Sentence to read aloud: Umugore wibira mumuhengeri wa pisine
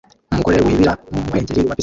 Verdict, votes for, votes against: rejected, 0, 2